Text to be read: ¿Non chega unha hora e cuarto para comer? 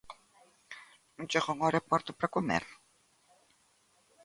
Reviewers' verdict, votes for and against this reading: accepted, 2, 0